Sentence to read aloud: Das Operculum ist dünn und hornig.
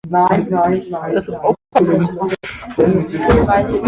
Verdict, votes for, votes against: rejected, 0, 2